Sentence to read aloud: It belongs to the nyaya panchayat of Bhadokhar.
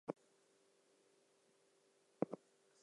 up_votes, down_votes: 0, 2